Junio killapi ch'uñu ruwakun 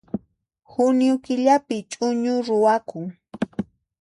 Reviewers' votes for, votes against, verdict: 2, 0, accepted